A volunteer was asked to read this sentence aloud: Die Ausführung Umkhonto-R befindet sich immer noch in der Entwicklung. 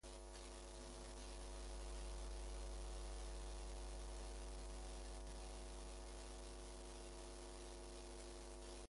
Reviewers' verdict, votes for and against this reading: rejected, 0, 2